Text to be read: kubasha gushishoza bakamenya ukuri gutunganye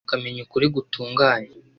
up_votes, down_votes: 1, 2